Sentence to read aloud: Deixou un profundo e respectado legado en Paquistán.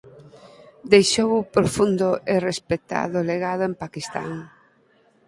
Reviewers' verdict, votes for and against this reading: rejected, 2, 4